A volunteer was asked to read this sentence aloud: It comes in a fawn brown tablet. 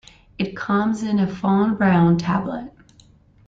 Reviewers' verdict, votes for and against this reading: accepted, 2, 0